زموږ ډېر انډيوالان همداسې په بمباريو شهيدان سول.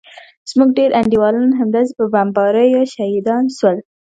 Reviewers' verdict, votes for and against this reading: accepted, 3, 0